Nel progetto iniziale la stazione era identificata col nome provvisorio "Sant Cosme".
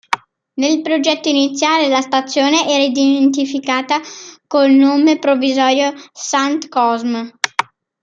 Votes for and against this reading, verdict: 2, 0, accepted